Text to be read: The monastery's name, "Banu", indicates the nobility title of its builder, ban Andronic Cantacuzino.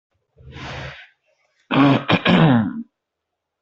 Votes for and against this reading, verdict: 0, 2, rejected